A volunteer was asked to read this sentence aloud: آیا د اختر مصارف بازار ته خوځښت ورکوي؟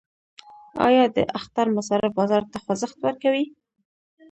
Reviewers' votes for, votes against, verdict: 1, 2, rejected